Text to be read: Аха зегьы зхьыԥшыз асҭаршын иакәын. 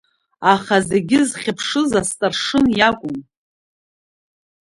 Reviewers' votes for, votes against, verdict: 2, 0, accepted